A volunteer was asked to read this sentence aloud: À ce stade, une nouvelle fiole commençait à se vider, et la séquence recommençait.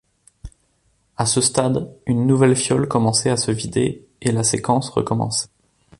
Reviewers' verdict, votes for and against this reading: rejected, 1, 2